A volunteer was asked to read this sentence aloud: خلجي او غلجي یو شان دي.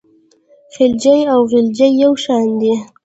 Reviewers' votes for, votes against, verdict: 0, 2, rejected